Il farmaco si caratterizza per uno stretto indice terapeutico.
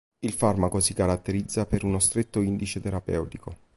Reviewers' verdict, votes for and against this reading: accepted, 3, 0